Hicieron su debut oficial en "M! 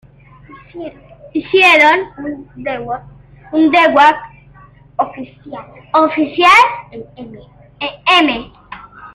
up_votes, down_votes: 1, 2